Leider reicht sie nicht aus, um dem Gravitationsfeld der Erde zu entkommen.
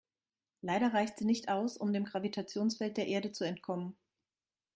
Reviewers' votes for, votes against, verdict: 2, 0, accepted